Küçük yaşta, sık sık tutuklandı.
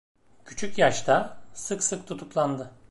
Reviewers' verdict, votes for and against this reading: rejected, 1, 2